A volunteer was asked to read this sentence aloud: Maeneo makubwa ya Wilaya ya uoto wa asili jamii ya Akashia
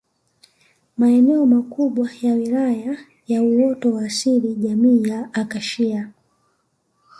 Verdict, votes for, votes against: accepted, 2, 0